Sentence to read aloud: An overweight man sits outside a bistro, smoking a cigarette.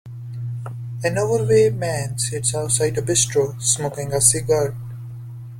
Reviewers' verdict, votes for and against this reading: rejected, 0, 2